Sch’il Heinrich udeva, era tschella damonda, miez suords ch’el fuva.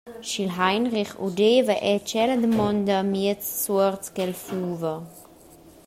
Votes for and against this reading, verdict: 1, 2, rejected